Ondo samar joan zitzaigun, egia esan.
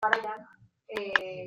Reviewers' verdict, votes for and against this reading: rejected, 0, 2